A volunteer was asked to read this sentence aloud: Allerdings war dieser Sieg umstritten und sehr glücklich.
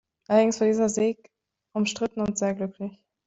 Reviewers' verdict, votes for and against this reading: rejected, 1, 2